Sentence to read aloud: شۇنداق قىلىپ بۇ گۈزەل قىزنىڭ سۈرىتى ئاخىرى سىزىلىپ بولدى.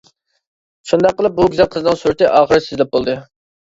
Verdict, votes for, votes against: accepted, 2, 0